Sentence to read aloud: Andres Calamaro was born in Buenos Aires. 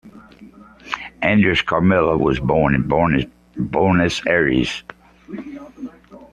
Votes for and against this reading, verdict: 0, 2, rejected